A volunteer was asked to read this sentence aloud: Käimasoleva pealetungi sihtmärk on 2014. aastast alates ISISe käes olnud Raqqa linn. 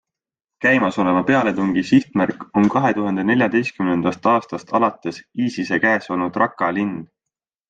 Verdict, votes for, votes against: rejected, 0, 2